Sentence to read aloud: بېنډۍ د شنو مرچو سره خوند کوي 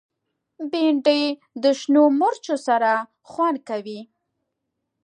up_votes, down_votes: 2, 0